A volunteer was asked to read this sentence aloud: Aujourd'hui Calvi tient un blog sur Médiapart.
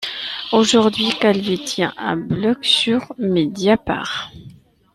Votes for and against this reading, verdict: 2, 0, accepted